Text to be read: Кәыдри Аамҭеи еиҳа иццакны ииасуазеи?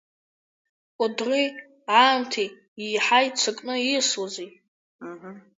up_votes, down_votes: 2, 0